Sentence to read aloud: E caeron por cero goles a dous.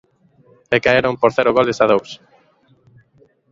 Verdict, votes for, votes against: accepted, 3, 0